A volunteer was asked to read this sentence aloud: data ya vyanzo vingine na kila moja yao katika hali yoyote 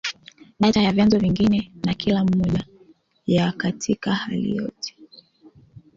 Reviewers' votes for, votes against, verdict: 2, 1, accepted